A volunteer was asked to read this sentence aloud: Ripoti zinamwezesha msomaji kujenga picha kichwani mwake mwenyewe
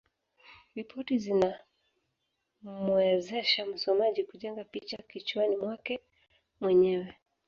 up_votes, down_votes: 1, 2